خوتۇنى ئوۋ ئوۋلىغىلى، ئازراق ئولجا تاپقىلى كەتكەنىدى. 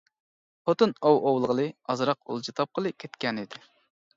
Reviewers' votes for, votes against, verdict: 1, 2, rejected